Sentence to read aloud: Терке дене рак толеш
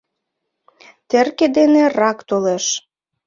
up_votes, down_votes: 2, 1